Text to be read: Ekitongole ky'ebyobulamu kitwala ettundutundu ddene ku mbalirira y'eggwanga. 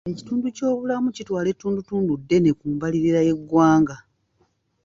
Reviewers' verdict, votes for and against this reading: rejected, 1, 2